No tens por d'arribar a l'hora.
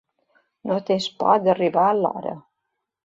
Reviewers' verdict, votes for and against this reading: accepted, 2, 0